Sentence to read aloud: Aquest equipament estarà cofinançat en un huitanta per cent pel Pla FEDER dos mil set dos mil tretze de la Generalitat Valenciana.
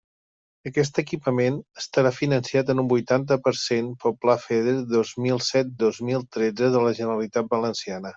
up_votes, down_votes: 0, 2